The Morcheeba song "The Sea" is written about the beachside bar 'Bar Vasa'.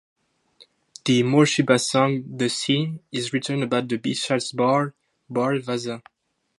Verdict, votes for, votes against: rejected, 2, 2